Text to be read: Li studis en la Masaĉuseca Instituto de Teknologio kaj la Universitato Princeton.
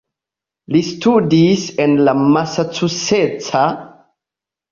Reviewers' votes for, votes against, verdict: 2, 0, accepted